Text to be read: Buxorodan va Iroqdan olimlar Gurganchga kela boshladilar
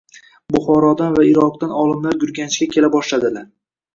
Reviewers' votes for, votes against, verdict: 2, 0, accepted